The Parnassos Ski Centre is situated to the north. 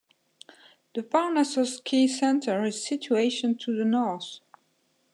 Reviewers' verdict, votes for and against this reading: rejected, 1, 2